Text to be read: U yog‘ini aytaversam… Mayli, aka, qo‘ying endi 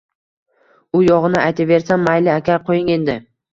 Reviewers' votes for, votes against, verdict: 2, 0, accepted